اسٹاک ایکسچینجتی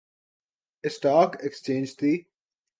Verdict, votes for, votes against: accepted, 4, 0